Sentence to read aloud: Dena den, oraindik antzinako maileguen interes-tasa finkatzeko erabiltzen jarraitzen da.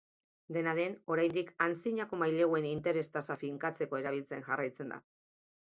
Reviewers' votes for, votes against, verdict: 2, 0, accepted